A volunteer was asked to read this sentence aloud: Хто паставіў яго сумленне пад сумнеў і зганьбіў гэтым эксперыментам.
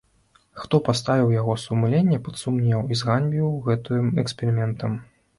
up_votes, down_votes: 0, 2